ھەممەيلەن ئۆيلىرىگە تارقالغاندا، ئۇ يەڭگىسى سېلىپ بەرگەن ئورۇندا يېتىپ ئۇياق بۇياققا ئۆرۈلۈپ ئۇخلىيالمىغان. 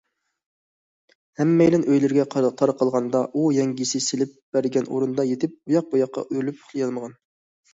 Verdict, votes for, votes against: rejected, 0, 2